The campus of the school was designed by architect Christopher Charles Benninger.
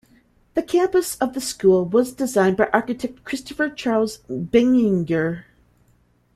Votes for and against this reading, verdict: 2, 0, accepted